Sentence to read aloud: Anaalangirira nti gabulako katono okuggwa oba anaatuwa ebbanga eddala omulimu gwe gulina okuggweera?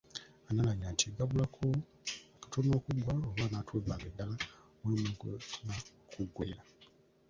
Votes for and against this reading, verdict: 1, 2, rejected